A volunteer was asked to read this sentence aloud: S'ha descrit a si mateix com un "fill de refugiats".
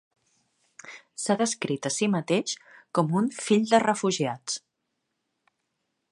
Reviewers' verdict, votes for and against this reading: accepted, 2, 0